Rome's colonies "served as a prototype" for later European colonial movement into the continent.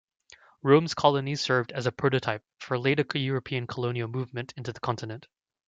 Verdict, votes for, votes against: accepted, 2, 1